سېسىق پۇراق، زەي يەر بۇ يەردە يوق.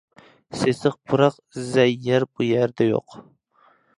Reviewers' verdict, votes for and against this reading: accepted, 2, 0